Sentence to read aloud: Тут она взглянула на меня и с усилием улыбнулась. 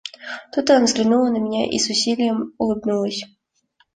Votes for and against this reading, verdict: 2, 0, accepted